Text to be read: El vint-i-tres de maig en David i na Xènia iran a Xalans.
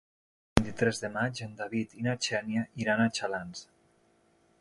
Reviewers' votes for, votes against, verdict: 1, 2, rejected